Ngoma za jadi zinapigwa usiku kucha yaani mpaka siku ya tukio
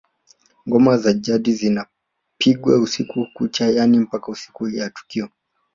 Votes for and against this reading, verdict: 0, 2, rejected